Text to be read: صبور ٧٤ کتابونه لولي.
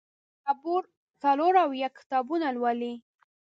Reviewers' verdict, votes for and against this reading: rejected, 0, 2